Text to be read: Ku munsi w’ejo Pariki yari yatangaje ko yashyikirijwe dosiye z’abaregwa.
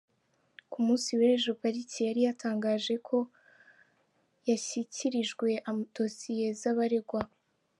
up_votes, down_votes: 0, 3